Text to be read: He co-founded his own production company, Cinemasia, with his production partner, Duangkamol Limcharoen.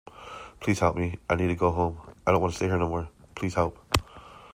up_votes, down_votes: 0, 2